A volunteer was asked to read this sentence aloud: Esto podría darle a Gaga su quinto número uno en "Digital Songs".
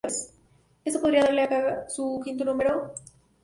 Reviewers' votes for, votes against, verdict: 0, 2, rejected